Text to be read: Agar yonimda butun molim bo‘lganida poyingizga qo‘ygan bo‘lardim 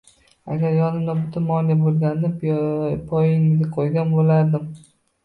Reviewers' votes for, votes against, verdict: 0, 2, rejected